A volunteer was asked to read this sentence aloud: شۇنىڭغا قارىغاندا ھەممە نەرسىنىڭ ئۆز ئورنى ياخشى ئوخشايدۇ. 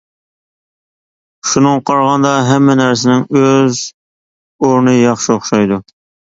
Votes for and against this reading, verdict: 2, 0, accepted